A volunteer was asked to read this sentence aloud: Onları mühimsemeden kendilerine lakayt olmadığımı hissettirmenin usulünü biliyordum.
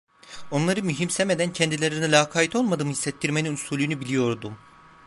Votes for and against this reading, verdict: 2, 0, accepted